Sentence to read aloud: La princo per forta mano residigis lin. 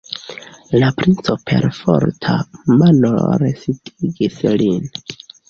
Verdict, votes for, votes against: rejected, 0, 2